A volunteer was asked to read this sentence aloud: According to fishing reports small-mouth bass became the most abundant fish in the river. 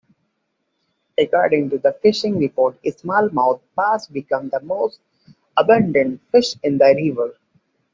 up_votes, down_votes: 2, 1